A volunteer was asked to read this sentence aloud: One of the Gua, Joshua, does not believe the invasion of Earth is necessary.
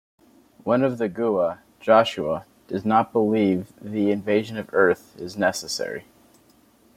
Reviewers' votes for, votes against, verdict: 2, 0, accepted